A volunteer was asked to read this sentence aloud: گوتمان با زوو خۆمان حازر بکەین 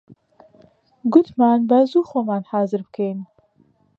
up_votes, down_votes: 2, 0